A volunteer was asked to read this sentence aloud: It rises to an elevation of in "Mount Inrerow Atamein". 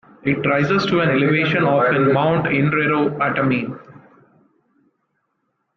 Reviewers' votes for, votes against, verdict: 1, 2, rejected